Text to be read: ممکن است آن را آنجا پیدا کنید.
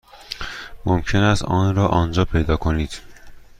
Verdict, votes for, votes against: accepted, 2, 0